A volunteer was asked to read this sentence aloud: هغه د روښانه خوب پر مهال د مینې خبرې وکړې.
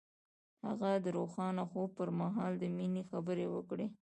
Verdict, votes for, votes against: accepted, 2, 0